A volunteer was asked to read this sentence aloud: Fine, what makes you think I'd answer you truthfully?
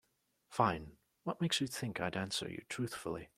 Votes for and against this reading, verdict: 2, 0, accepted